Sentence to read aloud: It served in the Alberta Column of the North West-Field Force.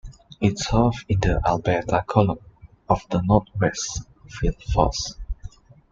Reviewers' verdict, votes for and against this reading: rejected, 1, 2